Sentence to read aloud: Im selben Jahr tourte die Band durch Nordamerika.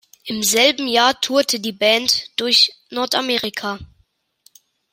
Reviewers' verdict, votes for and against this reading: accepted, 2, 0